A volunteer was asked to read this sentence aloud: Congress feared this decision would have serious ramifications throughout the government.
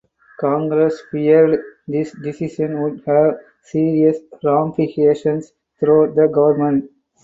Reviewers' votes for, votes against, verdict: 4, 0, accepted